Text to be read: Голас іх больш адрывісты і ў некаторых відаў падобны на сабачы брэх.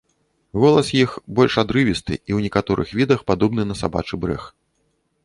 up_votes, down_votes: 1, 2